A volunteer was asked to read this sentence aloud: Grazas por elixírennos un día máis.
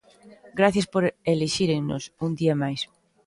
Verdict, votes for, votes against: rejected, 0, 2